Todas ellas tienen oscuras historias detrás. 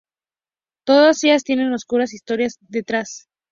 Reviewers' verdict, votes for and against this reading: accepted, 2, 0